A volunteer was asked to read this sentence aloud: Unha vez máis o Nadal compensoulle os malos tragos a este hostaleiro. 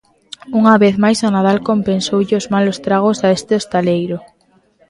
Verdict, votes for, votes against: accepted, 2, 0